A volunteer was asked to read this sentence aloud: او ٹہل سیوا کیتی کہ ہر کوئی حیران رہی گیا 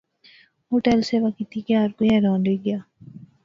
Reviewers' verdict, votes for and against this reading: accepted, 2, 0